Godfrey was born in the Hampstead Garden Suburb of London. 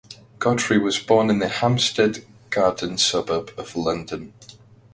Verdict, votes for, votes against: accepted, 2, 0